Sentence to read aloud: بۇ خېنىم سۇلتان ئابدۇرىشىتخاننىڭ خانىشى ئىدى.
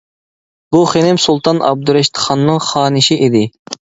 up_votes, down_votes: 2, 0